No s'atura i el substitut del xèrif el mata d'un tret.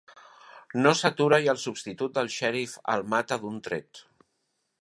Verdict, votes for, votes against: accepted, 3, 0